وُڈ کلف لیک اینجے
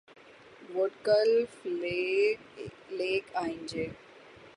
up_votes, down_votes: 0, 3